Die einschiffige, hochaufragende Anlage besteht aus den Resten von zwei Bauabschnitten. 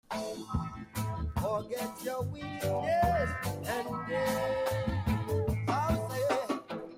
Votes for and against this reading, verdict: 0, 2, rejected